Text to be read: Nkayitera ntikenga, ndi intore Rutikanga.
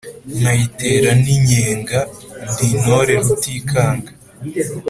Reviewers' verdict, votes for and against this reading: accepted, 2, 0